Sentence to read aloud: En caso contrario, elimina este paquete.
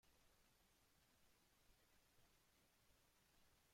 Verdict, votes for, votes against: rejected, 0, 2